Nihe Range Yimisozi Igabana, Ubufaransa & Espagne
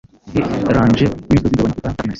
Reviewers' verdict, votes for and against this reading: rejected, 0, 2